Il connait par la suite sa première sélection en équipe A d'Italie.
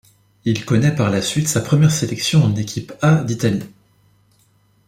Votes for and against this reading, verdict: 2, 0, accepted